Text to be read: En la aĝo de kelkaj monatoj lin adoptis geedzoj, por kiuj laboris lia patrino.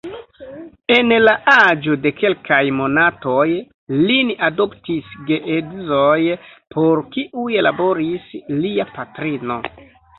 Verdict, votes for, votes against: rejected, 0, 2